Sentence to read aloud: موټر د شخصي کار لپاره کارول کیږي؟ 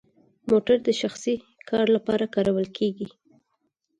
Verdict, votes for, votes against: accepted, 4, 0